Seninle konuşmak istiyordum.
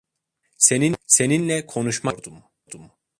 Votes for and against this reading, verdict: 0, 2, rejected